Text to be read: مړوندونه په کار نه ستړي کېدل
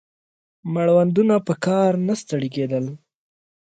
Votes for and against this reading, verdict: 2, 0, accepted